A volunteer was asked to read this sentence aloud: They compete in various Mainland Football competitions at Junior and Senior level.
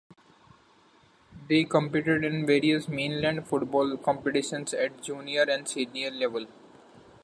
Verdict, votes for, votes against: rejected, 0, 2